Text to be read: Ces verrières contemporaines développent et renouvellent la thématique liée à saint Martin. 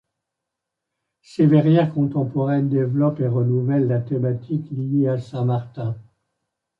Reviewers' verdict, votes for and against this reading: accepted, 2, 0